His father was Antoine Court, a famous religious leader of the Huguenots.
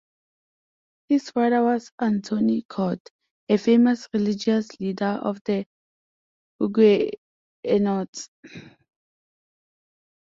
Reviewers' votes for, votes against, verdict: 1, 2, rejected